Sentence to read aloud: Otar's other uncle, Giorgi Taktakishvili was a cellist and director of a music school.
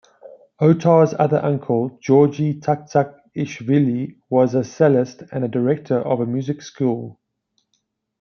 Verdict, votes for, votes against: rejected, 0, 2